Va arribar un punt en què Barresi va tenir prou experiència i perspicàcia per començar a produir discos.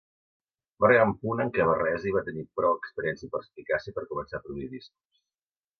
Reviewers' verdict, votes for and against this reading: accepted, 2, 1